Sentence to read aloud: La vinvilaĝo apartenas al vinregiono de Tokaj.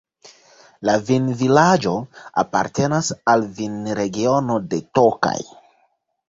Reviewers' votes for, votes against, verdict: 2, 0, accepted